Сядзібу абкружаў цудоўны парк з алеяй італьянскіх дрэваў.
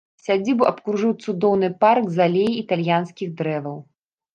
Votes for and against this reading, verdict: 1, 2, rejected